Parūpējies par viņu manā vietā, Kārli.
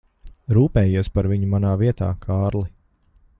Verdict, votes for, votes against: rejected, 1, 2